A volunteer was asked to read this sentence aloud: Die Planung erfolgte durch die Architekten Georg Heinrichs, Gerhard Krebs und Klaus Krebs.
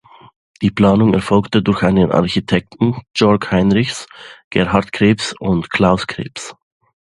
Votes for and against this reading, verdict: 0, 2, rejected